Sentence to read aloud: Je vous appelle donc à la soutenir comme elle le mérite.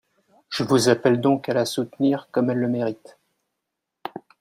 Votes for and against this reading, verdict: 0, 2, rejected